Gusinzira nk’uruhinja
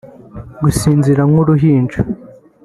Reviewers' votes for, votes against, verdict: 3, 0, accepted